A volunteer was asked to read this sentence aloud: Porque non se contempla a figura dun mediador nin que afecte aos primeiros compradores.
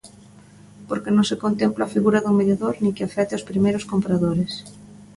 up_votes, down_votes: 2, 0